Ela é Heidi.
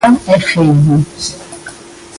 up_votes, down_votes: 1, 2